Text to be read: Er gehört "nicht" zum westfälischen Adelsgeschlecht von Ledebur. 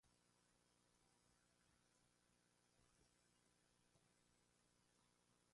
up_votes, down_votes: 0, 2